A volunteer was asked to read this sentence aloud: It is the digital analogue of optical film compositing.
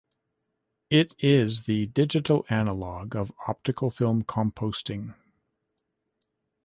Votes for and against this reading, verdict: 2, 4, rejected